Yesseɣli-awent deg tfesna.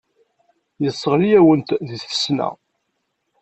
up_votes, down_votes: 2, 0